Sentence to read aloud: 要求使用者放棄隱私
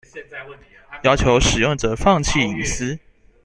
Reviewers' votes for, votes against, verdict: 1, 2, rejected